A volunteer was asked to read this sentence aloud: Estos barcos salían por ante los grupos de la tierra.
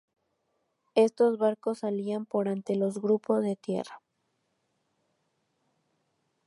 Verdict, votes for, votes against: rejected, 0, 2